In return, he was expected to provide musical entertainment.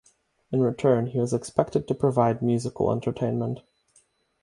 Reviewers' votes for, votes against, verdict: 3, 0, accepted